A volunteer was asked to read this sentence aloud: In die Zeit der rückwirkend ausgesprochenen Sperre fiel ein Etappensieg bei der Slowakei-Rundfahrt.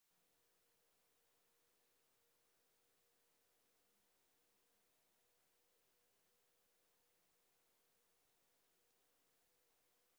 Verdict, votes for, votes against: rejected, 0, 2